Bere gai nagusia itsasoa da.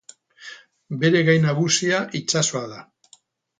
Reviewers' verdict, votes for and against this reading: accepted, 8, 0